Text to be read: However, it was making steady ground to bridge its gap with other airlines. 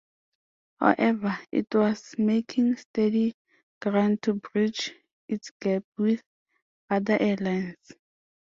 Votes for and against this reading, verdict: 2, 0, accepted